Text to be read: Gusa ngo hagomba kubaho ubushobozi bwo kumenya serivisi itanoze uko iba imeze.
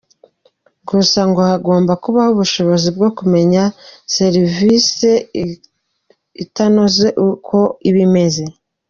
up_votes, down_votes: 1, 2